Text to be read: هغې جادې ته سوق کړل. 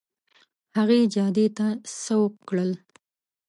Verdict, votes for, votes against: accepted, 2, 0